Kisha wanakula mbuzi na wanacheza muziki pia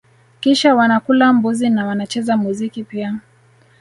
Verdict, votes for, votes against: accepted, 2, 0